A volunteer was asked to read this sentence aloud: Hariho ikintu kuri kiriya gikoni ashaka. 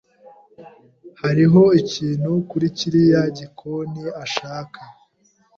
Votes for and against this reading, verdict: 2, 0, accepted